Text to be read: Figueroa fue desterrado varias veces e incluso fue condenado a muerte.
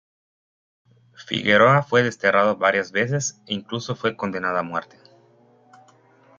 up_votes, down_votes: 1, 2